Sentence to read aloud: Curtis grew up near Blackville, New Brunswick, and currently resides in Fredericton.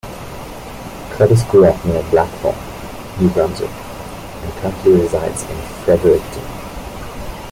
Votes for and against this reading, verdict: 1, 2, rejected